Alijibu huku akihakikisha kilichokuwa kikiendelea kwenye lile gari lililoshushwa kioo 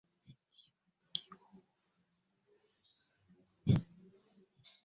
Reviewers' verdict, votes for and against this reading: rejected, 0, 2